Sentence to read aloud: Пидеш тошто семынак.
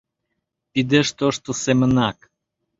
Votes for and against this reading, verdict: 2, 0, accepted